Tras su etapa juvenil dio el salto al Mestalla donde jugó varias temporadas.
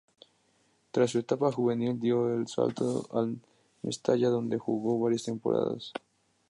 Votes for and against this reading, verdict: 2, 0, accepted